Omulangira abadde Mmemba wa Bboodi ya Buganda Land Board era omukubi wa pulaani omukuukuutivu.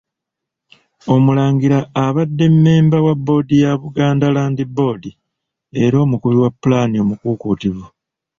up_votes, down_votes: 2, 0